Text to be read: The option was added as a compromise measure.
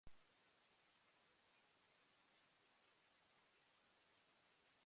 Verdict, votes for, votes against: rejected, 0, 2